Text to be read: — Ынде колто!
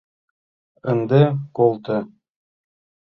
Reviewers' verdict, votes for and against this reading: accepted, 2, 0